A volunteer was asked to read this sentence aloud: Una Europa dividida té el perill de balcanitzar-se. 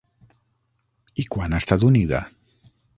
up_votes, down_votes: 0, 6